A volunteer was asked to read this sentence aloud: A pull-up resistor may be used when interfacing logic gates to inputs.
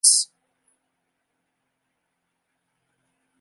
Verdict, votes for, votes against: rejected, 0, 2